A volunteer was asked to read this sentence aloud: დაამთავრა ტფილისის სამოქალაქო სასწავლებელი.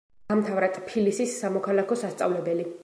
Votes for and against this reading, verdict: 0, 2, rejected